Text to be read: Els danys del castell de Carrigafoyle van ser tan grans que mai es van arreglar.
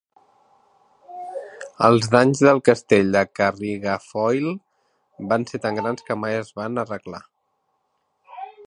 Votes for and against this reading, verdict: 0, 2, rejected